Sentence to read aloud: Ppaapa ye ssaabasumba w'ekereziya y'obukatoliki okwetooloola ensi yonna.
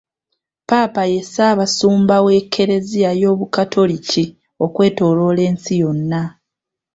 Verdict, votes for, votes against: accepted, 2, 1